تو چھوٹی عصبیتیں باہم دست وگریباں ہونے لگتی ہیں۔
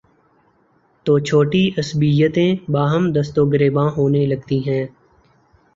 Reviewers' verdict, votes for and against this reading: accepted, 2, 0